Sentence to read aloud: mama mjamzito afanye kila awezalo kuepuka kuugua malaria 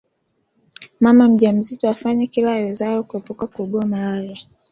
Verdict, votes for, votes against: accepted, 2, 1